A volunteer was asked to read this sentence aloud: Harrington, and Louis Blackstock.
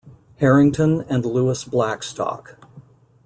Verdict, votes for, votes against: accepted, 2, 0